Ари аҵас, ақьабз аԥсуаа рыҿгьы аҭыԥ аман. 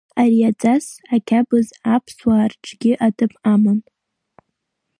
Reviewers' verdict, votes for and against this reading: rejected, 1, 2